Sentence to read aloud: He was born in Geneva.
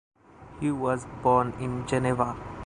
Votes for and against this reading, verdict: 2, 0, accepted